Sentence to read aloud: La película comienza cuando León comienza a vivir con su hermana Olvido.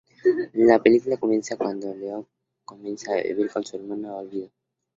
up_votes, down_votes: 2, 0